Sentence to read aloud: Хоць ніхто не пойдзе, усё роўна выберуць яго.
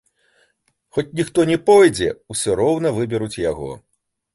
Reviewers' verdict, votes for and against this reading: accepted, 2, 0